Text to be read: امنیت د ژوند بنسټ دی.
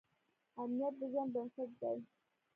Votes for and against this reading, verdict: 1, 2, rejected